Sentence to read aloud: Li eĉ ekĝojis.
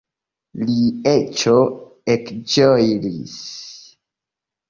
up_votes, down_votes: 1, 2